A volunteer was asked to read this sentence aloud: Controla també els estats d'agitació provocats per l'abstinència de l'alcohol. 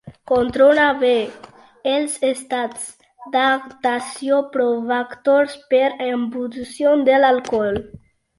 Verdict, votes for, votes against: rejected, 0, 2